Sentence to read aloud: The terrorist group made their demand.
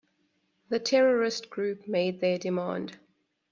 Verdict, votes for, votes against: accepted, 2, 0